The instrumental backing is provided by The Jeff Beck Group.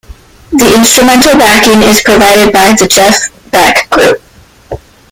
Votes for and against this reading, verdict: 1, 2, rejected